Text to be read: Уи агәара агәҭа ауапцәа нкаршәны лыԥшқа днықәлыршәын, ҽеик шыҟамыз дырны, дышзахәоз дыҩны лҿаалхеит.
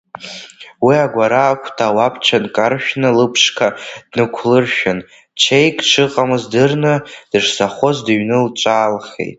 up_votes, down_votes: 0, 2